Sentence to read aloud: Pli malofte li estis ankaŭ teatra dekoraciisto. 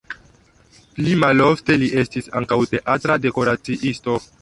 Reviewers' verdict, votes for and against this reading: rejected, 1, 2